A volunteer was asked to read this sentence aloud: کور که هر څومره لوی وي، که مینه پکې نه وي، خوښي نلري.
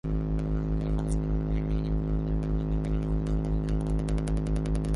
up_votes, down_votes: 0, 2